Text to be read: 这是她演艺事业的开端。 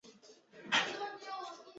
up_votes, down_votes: 0, 2